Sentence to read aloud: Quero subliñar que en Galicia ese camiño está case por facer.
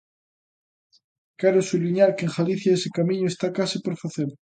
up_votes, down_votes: 2, 0